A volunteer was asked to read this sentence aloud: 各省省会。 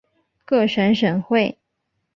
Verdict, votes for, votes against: accepted, 2, 0